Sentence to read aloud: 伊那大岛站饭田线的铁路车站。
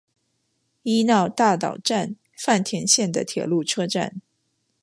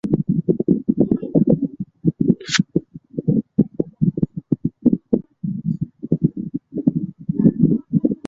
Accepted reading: first